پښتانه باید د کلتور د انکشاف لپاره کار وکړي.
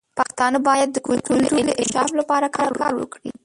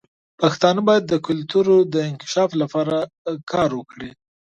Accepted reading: second